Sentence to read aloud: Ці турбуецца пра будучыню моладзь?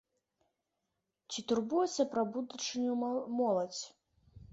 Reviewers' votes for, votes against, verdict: 1, 2, rejected